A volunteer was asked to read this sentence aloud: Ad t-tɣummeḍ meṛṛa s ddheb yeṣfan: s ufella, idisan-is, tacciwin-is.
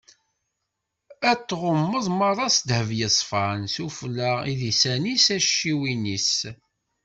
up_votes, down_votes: 2, 0